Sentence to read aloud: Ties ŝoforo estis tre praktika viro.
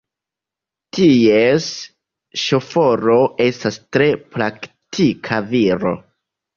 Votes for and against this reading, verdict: 0, 2, rejected